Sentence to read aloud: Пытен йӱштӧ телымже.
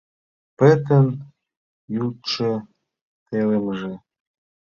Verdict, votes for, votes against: rejected, 0, 2